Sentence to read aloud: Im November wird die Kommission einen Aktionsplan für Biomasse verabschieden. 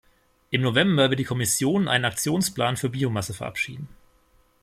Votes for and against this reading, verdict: 2, 0, accepted